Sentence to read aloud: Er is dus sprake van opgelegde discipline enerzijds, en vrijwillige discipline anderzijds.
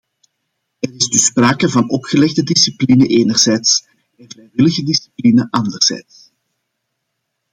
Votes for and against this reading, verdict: 1, 2, rejected